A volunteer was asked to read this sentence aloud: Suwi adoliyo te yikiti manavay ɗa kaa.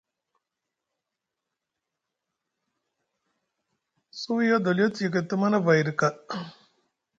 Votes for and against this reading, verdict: 2, 0, accepted